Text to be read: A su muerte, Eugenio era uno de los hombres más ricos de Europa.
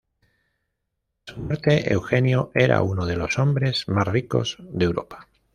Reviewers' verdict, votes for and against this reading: rejected, 1, 2